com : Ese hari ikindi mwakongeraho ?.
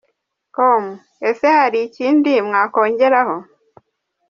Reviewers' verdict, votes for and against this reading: accepted, 2, 0